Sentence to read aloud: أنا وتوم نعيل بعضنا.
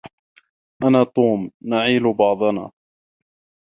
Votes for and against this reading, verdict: 1, 2, rejected